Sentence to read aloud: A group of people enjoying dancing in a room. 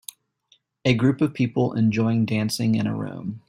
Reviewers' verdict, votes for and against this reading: accepted, 2, 0